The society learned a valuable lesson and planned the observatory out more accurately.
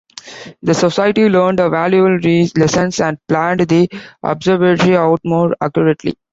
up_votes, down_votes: 0, 3